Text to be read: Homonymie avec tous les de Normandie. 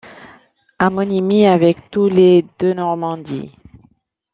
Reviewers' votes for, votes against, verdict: 0, 2, rejected